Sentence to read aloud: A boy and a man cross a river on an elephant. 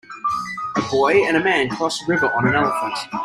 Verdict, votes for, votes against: accepted, 2, 0